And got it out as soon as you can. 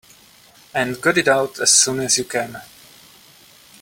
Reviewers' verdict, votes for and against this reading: accepted, 3, 0